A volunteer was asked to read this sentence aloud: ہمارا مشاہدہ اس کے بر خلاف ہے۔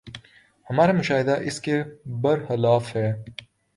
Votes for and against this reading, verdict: 2, 0, accepted